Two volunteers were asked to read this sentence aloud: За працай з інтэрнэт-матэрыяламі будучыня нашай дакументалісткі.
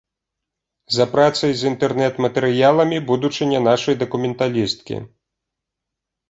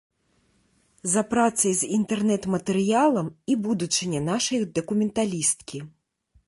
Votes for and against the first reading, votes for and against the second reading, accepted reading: 2, 0, 1, 2, first